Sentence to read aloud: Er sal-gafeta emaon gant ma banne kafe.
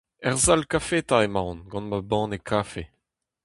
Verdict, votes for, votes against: rejected, 0, 2